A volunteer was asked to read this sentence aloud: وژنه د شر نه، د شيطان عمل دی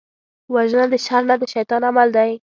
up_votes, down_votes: 2, 0